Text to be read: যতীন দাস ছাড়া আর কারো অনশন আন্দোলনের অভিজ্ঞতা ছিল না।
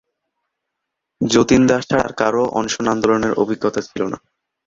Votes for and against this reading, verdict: 1, 3, rejected